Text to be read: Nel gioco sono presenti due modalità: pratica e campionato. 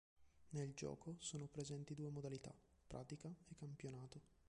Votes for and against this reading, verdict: 2, 1, accepted